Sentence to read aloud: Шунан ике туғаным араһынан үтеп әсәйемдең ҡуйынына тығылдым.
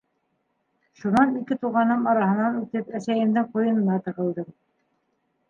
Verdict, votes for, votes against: accepted, 2, 0